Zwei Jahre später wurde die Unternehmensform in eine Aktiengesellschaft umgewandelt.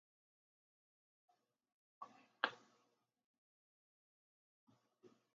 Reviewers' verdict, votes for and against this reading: rejected, 0, 3